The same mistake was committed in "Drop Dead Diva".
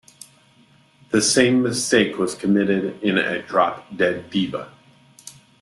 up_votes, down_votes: 0, 2